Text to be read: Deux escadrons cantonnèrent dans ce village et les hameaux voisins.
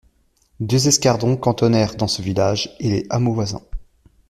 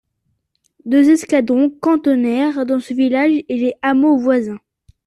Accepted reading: second